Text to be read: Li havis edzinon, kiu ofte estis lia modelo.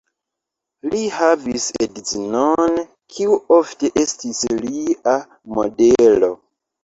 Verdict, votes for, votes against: rejected, 1, 2